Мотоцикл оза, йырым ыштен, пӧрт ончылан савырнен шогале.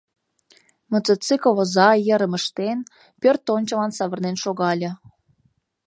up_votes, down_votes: 2, 0